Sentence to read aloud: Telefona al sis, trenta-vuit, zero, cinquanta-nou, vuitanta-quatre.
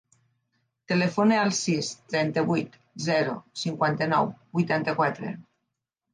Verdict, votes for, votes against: accepted, 4, 0